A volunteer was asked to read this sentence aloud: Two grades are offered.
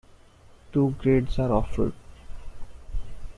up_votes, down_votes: 1, 2